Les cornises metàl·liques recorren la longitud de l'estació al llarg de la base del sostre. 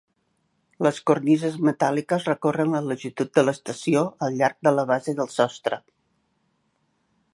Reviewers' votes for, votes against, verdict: 3, 0, accepted